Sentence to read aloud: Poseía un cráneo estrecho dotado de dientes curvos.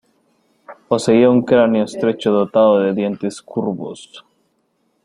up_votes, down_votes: 2, 0